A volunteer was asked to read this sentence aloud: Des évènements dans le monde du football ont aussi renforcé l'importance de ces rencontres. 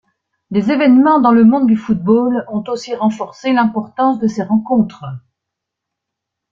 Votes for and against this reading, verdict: 2, 0, accepted